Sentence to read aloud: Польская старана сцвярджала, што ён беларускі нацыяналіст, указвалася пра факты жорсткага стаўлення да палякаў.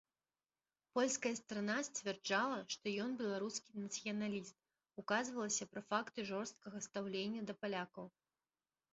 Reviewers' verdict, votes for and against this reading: rejected, 0, 3